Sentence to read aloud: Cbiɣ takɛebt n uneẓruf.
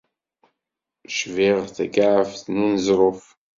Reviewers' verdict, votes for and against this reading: accepted, 2, 0